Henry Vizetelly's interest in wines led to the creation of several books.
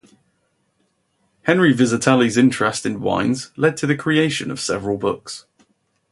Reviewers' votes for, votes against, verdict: 2, 2, rejected